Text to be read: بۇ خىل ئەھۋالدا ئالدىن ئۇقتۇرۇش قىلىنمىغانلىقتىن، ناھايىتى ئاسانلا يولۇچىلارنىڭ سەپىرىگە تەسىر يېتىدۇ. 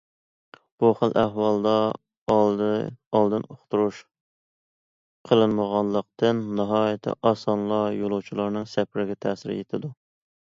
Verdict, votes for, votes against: rejected, 1, 2